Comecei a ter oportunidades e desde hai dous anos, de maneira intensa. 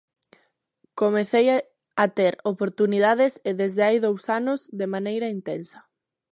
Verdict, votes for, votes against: rejected, 0, 2